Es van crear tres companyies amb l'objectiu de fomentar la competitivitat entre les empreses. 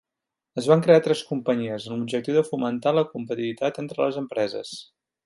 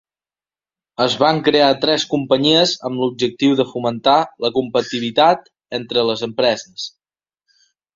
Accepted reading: first